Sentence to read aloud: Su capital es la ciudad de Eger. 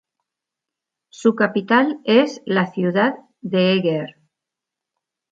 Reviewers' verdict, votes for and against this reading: accepted, 2, 1